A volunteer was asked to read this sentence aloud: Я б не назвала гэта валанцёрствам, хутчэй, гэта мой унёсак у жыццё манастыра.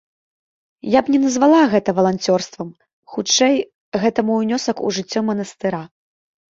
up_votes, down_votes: 2, 0